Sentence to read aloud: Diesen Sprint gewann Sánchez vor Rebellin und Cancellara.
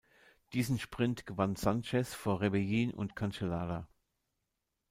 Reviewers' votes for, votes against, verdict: 2, 0, accepted